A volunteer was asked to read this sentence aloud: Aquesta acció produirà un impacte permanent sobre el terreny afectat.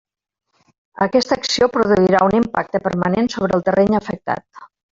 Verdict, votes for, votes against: rejected, 0, 2